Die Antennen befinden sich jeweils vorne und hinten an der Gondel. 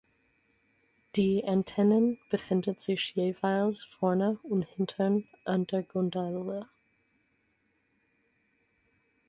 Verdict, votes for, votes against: accepted, 4, 2